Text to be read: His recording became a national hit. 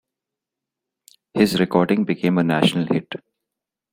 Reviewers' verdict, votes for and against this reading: accepted, 2, 0